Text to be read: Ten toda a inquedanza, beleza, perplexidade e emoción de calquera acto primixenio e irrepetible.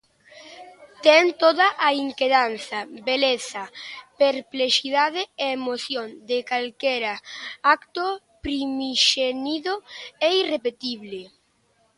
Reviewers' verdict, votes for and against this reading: rejected, 1, 2